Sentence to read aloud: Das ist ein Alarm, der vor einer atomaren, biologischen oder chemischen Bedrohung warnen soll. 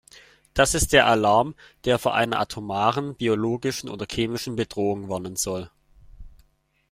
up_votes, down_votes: 1, 2